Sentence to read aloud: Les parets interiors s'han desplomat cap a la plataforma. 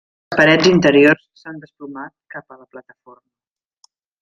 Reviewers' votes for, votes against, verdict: 0, 2, rejected